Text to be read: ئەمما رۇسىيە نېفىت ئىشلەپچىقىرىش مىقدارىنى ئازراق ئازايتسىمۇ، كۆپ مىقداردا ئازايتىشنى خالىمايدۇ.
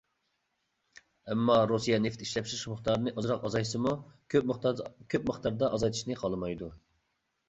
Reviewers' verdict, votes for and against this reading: rejected, 0, 2